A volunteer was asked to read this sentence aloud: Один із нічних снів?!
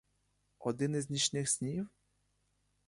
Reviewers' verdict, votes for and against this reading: rejected, 0, 2